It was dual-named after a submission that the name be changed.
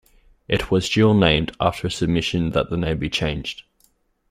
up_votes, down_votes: 2, 0